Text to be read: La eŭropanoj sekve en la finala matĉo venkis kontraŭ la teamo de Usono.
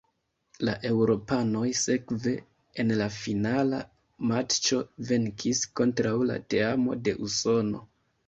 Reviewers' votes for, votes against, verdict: 2, 1, accepted